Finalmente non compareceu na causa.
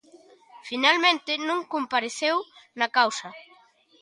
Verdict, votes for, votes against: accepted, 2, 0